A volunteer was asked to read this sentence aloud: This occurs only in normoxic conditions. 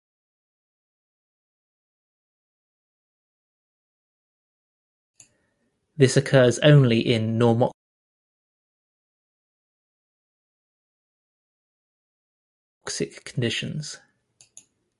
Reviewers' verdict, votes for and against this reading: rejected, 0, 2